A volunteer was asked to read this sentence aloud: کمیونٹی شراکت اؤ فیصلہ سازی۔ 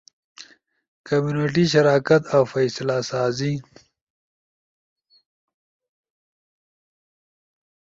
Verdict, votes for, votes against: accepted, 2, 0